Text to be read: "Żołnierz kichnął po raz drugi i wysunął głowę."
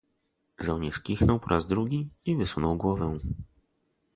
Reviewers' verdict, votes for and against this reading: accepted, 2, 0